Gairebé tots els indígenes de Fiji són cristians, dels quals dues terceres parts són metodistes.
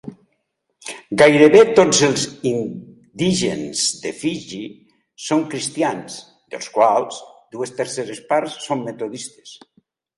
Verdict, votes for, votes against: rejected, 1, 2